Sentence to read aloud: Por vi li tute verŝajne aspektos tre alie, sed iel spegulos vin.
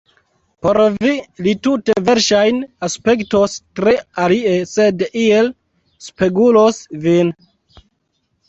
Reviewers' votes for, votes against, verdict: 0, 2, rejected